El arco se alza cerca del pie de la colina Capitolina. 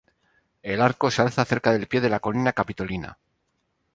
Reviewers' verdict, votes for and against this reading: rejected, 0, 2